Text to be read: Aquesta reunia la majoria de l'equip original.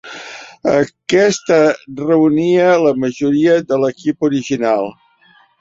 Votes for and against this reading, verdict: 3, 0, accepted